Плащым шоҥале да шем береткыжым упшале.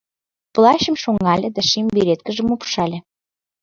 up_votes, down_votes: 2, 0